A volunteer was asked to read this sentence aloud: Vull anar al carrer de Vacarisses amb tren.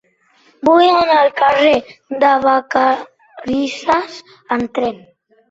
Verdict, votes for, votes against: accepted, 4, 0